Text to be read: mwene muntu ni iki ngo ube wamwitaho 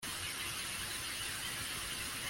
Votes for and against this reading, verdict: 0, 2, rejected